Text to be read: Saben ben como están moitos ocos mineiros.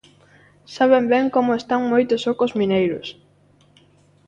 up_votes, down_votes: 2, 0